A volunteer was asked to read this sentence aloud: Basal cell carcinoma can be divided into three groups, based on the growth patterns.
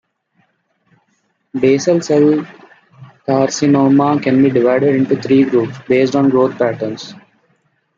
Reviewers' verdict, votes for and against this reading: rejected, 1, 2